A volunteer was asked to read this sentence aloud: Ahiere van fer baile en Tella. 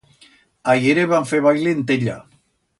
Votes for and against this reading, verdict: 2, 0, accepted